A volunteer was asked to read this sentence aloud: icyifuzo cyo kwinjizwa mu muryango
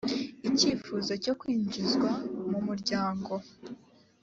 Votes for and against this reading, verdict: 3, 0, accepted